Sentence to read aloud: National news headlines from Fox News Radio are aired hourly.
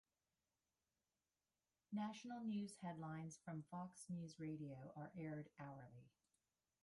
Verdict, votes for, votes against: rejected, 0, 2